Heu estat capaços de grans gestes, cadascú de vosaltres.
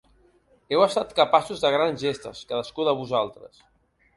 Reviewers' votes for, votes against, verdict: 2, 0, accepted